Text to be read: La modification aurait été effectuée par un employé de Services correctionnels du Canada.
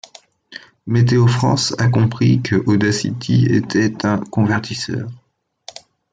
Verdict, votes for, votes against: rejected, 0, 2